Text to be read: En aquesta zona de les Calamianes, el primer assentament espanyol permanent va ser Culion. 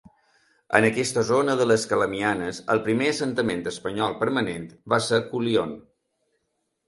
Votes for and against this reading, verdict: 1, 2, rejected